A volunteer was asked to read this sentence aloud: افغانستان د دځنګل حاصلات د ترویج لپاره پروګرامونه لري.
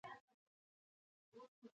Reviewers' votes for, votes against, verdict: 2, 0, accepted